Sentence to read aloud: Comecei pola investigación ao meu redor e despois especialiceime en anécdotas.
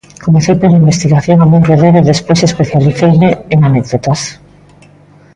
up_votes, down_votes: 0, 2